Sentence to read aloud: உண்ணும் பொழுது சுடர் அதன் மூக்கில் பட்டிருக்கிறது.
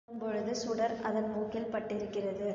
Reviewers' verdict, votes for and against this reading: rejected, 1, 2